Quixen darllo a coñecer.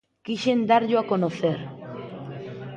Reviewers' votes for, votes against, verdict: 0, 2, rejected